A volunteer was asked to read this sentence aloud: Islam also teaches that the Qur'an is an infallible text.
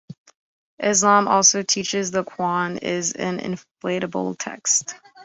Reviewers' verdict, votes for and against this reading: rejected, 0, 3